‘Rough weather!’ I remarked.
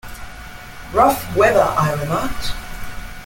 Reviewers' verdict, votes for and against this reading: accepted, 2, 0